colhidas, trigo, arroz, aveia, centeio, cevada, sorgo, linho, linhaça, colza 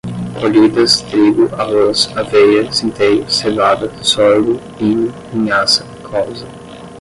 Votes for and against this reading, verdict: 5, 5, rejected